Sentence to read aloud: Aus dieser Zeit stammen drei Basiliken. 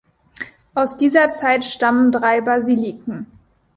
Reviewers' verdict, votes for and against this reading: accepted, 2, 0